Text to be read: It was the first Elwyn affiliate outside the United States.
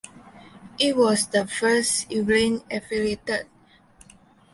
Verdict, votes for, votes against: rejected, 0, 2